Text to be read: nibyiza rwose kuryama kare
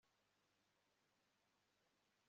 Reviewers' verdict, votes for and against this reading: rejected, 1, 2